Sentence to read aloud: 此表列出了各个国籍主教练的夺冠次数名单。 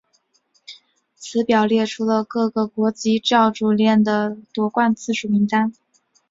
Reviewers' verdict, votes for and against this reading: rejected, 0, 2